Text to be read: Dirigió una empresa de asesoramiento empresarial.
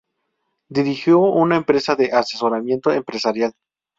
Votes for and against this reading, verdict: 2, 0, accepted